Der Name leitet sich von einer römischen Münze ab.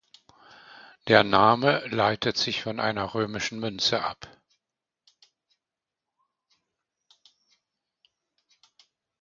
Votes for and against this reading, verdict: 2, 0, accepted